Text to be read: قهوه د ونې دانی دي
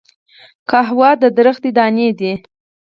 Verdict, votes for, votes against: rejected, 0, 4